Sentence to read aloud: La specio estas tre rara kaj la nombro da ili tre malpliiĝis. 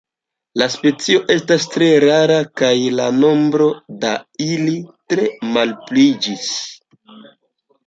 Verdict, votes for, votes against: accepted, 2, 0